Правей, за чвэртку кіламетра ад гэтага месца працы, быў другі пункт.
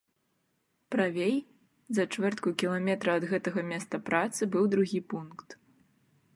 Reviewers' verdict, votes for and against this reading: rejected, 1, 2